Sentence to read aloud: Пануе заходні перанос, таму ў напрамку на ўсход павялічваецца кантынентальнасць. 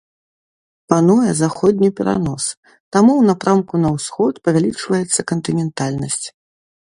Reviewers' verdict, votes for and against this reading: accepted, 2, 0